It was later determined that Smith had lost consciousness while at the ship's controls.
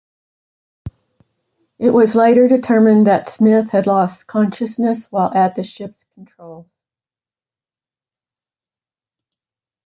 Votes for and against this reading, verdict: 1, 2, rejected